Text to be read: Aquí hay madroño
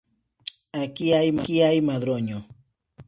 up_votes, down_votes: 2, 0